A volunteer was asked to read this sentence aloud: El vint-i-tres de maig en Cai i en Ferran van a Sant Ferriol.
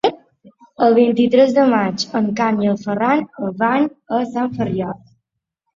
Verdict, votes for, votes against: accepted, 2, 1